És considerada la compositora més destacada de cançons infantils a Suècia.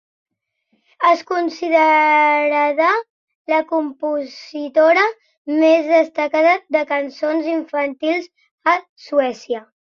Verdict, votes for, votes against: rejected, 1, 2